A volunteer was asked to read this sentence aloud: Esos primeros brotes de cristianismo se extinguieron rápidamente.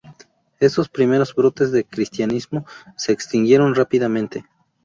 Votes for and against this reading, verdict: 0, 2, rejected